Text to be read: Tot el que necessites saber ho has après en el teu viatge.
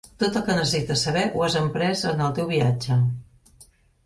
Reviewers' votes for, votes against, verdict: 0, 2, rejected